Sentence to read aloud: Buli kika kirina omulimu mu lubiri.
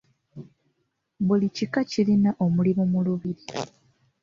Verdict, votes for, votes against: accepted, 2, 1